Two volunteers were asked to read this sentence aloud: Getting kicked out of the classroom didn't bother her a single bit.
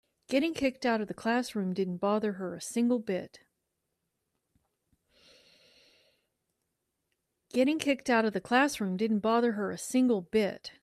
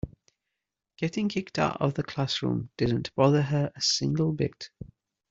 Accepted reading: second